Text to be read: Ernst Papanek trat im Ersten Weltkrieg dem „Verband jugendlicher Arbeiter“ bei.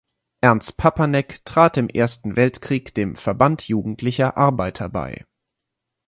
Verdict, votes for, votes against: accepted, 4, 0